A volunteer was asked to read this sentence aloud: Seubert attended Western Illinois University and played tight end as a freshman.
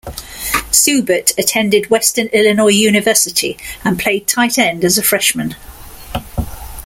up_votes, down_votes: 2, 0